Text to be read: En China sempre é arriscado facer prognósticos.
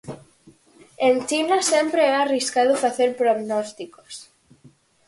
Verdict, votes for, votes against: accepted, 4, 0